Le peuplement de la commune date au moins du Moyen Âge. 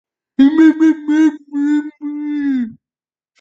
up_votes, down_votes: 0, 2